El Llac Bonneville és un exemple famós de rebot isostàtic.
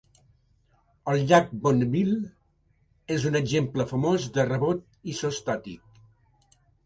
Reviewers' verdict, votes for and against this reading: accepted, 3, 0